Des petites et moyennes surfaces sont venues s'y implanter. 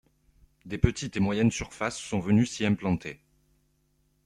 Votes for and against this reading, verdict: 1, 2, rejected